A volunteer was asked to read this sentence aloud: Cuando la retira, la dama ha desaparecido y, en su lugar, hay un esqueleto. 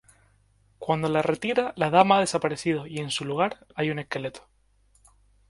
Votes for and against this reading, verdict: 0, 2, rejected